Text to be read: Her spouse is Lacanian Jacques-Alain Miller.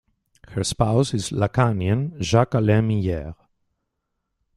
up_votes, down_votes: 0, 2